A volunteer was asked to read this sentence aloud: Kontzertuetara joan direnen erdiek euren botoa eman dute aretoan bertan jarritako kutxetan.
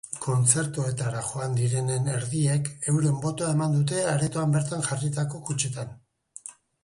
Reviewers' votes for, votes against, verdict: 3, 1, accepted